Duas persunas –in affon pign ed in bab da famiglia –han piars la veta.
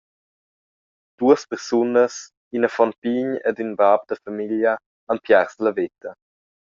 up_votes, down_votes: 2, 0